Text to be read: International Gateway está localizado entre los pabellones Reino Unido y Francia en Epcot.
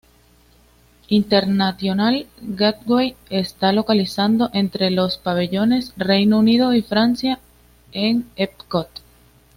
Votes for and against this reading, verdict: 1, 2, rejected